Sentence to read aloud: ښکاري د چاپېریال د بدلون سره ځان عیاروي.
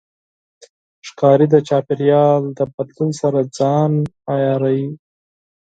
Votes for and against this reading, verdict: 4, 0, accepted